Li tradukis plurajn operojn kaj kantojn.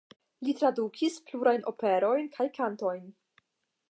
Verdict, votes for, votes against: accepted, 5, 0